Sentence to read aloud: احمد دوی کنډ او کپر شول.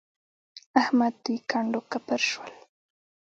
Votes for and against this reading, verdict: 3, 0, accepted